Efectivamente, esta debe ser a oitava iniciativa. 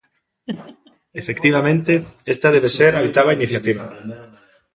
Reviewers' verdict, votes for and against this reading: rejected, 1, 2